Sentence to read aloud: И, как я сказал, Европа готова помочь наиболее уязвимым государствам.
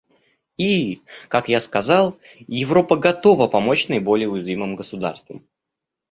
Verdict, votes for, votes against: accepted, 2, 0